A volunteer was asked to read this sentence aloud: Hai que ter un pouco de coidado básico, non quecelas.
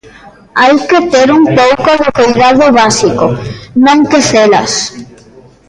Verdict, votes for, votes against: rejected, 0, 2